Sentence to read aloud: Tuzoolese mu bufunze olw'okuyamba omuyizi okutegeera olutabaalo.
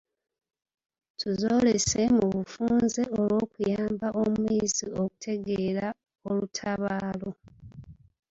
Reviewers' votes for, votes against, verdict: 1, 3, rejected